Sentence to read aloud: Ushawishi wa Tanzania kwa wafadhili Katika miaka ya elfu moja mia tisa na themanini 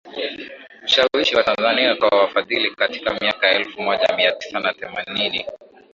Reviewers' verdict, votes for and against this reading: rejected, 0, 2